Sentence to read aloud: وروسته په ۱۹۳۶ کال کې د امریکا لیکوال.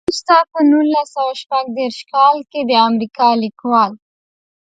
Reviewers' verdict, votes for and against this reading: rejected, 0, 2